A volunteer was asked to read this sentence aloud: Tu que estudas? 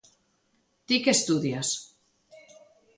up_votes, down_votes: 0, 2